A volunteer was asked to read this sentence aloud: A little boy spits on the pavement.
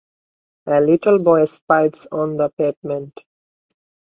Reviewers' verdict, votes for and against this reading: rejected, 0, 2